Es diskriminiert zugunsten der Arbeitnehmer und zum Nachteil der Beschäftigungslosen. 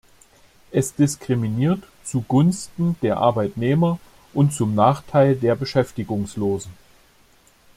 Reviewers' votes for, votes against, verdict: 2, 0, accepted